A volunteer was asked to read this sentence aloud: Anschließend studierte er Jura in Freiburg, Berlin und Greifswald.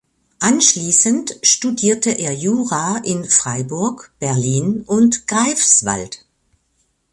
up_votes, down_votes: 3, 0